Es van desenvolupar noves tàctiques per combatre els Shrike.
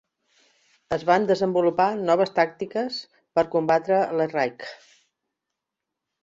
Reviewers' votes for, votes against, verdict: 0, 2, rejected